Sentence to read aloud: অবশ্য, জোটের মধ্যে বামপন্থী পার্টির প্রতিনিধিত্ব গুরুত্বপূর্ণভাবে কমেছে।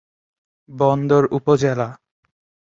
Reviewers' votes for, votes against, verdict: 0, 7, rejected